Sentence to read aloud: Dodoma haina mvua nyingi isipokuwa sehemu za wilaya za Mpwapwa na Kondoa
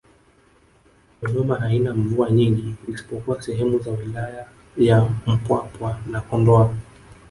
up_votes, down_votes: 1, 2